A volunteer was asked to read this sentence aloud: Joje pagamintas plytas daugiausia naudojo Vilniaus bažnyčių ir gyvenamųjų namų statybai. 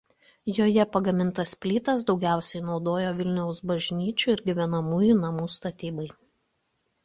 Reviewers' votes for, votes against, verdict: 2, 0, accepted